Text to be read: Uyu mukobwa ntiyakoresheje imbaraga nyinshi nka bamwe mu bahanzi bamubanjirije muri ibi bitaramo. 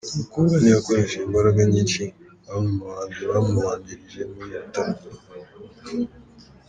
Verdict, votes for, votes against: accepted, 2, 1